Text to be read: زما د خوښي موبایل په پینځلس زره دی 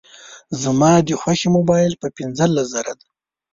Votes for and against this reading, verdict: 2, 1, accepted